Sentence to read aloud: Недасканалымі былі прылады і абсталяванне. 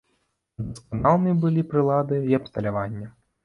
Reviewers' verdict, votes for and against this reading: rejected, 0, 2